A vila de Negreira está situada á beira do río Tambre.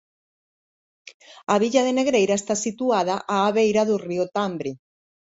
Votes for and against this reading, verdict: 0, 2, rejected